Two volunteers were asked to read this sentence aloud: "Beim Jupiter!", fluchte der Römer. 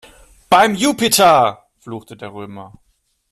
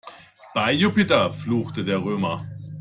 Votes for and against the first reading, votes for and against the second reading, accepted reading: 2, 0, 0, 2, first